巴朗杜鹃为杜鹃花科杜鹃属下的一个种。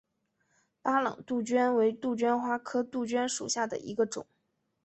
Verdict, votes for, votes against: accepted, 2, 1